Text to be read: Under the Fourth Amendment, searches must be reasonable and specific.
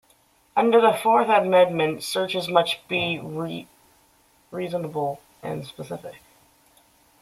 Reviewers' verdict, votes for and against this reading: rejected, 0, 2